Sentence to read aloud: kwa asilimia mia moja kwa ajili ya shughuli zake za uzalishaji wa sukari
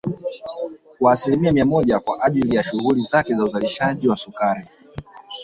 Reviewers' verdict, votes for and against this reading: accepted, 2, 0